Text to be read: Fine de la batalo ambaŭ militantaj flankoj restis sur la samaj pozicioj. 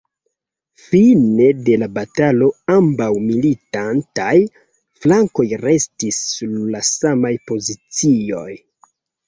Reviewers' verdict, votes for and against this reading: rejected, 1, 2